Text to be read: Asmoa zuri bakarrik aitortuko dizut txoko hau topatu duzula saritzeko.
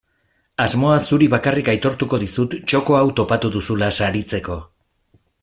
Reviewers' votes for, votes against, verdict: 2, 0, accepted